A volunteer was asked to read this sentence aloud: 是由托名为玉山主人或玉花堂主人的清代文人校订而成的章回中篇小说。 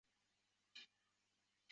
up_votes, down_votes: 0, 4